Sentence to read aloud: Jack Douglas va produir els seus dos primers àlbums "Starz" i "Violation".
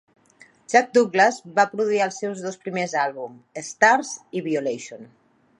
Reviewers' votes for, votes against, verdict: 3, 1, accepted